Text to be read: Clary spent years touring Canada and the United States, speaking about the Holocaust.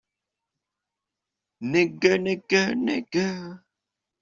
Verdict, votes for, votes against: rejected, 0, 2